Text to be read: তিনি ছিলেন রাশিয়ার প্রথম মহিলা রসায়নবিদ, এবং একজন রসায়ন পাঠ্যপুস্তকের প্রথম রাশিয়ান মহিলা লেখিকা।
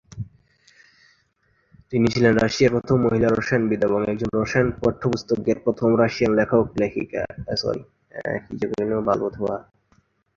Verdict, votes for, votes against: rejected, 0, 2